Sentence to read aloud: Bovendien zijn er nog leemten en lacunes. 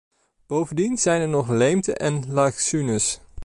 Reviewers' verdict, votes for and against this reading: rejected, 0, 2